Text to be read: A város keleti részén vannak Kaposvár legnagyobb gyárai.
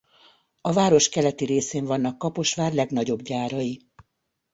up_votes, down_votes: 2, 0